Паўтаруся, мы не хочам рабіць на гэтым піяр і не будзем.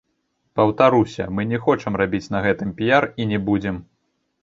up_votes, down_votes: 1, 2